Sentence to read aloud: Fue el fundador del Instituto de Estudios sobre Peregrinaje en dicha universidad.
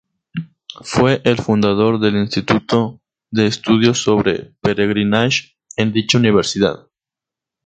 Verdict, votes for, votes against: accepted, 2, 0